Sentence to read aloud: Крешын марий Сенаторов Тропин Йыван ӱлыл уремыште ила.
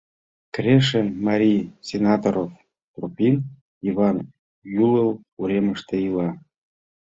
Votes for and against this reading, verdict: 2, 0, accepted